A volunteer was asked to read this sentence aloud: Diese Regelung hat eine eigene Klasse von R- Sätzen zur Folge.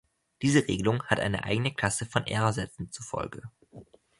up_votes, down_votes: 2, 0